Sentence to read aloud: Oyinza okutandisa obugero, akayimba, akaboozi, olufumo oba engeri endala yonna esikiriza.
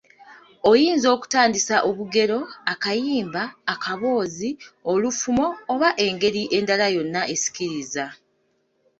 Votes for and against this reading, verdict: 2, 1, accepted